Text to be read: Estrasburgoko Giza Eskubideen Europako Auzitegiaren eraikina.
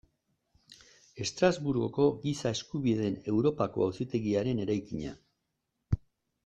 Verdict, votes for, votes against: rejected, 1, 2